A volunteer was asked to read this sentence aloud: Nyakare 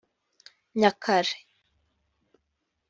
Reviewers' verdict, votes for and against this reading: accepted, 2, 0